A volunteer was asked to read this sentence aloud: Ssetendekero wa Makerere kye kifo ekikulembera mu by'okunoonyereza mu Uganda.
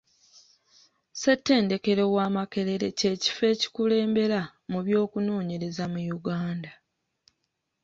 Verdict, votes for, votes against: accepted, 2, 0